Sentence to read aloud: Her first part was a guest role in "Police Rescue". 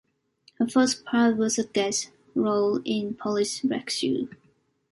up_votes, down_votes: 2, 1